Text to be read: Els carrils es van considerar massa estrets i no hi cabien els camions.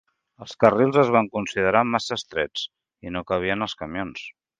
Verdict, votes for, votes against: rejected, 0, 2